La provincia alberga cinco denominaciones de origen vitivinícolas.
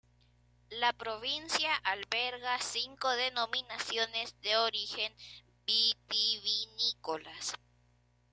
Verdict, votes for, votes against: accepted, 2, 0